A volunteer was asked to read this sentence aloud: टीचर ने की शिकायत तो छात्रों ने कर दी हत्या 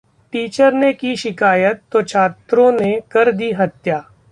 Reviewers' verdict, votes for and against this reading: accepted, 2, 0